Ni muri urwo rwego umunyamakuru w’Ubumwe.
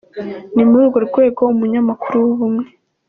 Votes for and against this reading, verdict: 2, 0, accepted